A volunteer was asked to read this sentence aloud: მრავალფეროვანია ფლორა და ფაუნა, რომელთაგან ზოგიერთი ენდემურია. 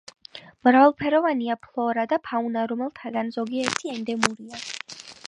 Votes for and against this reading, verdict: 2, 0, accepted